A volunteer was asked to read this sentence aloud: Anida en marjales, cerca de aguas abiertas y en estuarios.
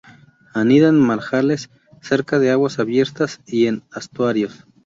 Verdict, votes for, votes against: rejected, 2, 2